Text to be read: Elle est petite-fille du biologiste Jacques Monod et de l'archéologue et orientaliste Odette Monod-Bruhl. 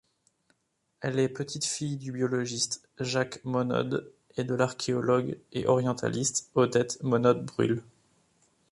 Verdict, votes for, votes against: rejected, 1, 2